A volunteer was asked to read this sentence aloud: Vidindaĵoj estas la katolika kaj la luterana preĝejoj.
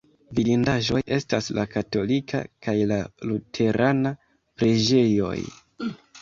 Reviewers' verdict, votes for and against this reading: accepted, 2, 1